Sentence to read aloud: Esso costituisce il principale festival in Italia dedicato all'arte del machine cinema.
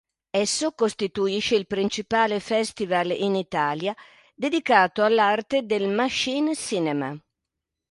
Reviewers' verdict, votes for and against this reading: accepted, 2, 0